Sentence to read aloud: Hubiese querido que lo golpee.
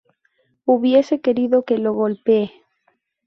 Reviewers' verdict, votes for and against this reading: rejected, 2, 2